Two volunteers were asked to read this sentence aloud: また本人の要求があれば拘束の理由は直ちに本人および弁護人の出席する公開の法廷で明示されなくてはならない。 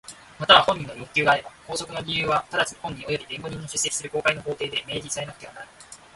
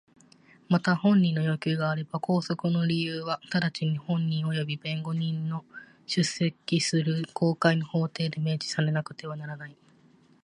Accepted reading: second